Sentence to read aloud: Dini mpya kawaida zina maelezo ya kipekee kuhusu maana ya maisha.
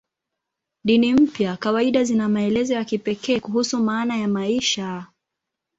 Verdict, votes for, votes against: accepted, 2, 0